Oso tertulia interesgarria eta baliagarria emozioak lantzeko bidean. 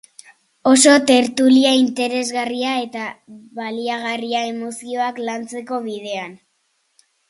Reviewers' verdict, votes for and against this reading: accepted, 2, 0